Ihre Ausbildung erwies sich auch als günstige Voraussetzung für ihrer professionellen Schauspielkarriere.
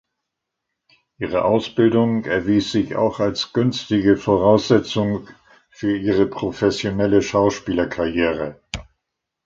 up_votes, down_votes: 0, 2